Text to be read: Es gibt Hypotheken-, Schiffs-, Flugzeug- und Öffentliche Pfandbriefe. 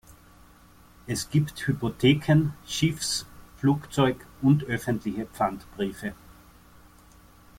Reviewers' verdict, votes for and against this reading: accepted, 2, 0